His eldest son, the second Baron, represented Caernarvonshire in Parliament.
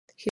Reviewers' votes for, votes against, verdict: 0, 2, rejected